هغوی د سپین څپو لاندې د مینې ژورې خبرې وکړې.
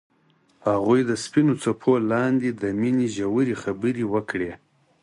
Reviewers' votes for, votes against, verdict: 4, 0, accepted